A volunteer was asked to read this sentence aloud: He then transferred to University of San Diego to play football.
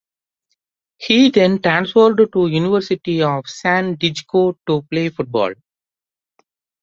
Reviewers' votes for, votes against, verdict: 1, 2, rejected